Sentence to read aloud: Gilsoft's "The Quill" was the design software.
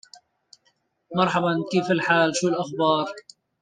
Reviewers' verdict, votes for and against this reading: rejected, 0, 2